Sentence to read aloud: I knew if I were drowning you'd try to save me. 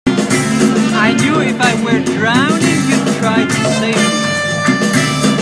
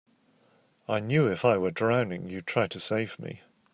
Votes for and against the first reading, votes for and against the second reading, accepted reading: 1, 3, 2, 0, second